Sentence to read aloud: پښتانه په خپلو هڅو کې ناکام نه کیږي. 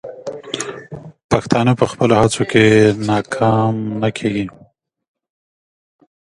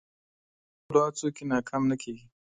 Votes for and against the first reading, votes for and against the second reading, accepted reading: 2, 0, 0, 2, first